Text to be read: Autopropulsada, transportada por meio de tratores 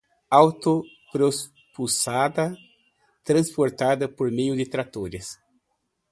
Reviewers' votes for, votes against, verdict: 0, 2, rejected